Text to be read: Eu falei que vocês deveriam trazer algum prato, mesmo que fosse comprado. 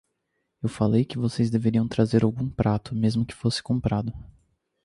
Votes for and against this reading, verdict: 2, 0, accepted